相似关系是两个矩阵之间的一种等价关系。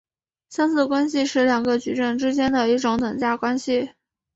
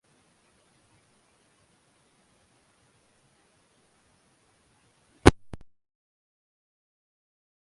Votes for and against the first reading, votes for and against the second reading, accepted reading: 7, 0, 1, 4, first